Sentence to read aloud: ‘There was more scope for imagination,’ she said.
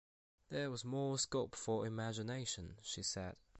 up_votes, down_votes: 2, 0